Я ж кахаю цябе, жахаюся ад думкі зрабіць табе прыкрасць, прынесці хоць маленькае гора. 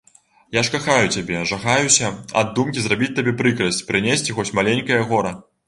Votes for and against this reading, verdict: 1, 2, rejected